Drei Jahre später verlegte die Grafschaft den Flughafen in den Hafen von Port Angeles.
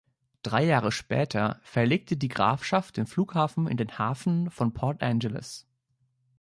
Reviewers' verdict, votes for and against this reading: accepted, 2, 0